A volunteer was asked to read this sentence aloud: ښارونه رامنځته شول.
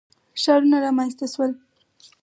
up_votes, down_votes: 2, 2